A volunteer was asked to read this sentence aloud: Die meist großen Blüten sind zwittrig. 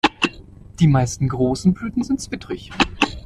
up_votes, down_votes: 1, 2